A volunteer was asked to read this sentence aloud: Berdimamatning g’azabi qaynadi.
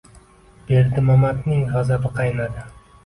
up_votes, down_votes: 3, 0